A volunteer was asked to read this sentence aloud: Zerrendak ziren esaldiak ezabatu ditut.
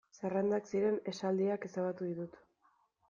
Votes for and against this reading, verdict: 2, 1, accepted